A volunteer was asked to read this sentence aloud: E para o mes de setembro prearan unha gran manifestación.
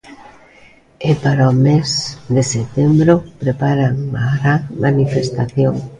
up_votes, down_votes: 1, 2